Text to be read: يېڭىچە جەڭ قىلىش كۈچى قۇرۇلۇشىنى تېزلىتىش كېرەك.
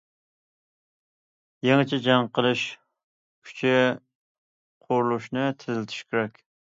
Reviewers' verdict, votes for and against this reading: accepted, 2, 0